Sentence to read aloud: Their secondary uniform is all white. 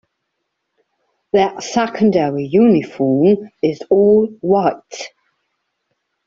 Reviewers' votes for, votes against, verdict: 2, 0, accepted